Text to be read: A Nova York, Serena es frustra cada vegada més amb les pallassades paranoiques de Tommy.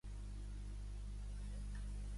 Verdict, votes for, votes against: rejected, 0, 2